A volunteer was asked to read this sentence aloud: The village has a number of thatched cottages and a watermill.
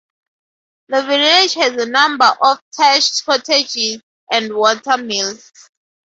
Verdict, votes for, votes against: rejected, 0, 2